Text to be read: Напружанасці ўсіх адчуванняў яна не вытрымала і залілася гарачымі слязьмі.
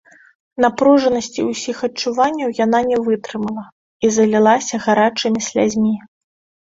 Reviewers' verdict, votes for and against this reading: accepted, 2, 0